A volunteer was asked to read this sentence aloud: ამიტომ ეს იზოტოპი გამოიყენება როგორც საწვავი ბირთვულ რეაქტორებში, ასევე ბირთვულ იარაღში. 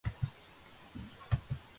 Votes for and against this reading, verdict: 0, 2, rejected